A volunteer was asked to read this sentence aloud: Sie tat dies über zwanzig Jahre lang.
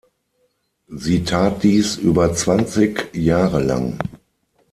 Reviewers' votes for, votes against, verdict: 0, 6, rejected